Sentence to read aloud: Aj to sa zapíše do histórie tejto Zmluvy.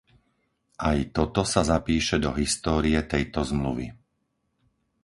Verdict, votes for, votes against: rejected, 0, 4